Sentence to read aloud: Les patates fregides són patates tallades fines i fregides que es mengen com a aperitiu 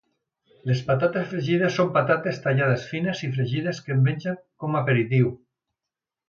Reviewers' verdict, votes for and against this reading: accepted, 2, 0